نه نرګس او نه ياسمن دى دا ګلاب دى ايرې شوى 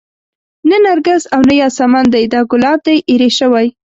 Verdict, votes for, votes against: accepted, 2, 0